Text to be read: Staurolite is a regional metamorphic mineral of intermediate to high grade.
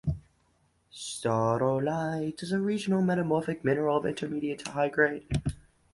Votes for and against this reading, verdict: 2, 0, accepted